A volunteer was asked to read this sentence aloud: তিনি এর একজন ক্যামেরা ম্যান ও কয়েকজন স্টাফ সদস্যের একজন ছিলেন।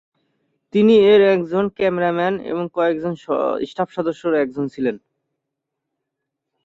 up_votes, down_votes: 0, 2